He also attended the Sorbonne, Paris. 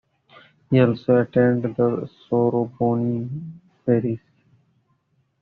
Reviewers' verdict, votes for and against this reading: rejected, 0, 2